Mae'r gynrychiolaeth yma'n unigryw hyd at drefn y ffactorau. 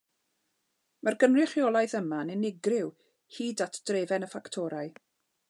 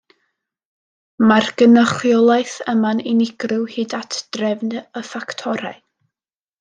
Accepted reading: first